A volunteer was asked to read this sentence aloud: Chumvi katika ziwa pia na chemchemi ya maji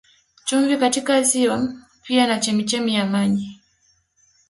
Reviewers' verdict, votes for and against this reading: rejected, 1, 2